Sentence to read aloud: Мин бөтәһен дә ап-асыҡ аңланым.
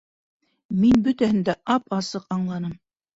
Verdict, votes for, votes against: accepted, 2, 0